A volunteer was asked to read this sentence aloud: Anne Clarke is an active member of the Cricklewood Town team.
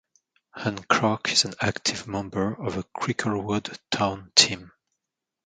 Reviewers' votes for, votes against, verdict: 2, 1, accepted